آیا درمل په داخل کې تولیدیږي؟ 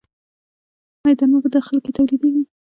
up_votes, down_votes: 2, 1